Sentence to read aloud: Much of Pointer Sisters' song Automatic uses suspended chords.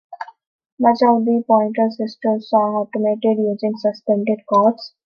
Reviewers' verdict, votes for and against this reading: rejected, 0, 2